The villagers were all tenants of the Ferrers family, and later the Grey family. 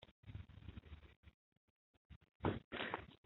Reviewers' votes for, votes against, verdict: 0, 2, rejected